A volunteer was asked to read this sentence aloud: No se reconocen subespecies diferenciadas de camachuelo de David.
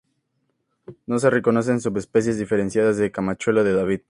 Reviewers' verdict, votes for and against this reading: accepted, 2, 0